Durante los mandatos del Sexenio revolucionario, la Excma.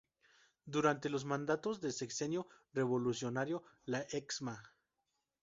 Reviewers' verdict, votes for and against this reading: rejected, 2, 2